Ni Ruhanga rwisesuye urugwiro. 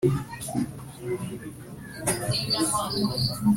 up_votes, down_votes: 1, 2